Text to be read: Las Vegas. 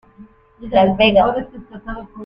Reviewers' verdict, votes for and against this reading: rejected, 0, 2